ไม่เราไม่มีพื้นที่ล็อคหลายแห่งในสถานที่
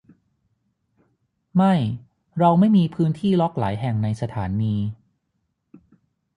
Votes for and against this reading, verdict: 6, 6, rejected